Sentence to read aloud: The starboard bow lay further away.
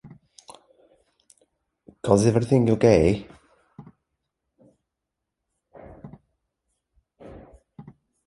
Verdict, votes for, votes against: rejected, 0, 2